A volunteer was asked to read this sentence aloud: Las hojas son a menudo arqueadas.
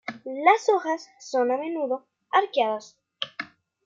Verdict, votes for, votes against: accepted, 2, 0